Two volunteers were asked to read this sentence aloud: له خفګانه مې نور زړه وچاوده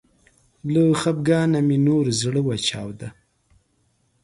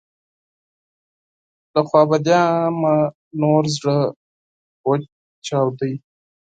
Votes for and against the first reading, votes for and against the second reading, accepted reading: 2, 0, 0, 4, first